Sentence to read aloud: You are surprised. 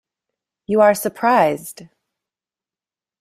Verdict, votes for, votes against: accepted, 2, 0